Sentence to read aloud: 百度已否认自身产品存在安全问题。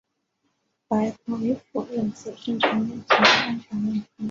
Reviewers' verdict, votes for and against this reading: rejected, 0, 2